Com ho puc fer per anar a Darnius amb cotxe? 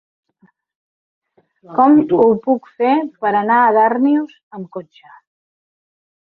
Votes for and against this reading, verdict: 1, 2, rejected